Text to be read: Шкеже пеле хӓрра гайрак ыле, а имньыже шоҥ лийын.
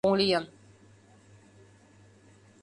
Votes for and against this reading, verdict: 0, 2, rejected